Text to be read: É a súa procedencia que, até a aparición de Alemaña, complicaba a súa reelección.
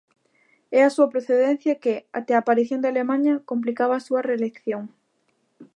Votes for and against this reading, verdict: 2, 0, accepted